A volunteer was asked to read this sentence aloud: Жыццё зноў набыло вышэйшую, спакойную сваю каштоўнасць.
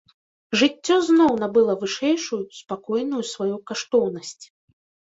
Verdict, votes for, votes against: rejected, 1, 2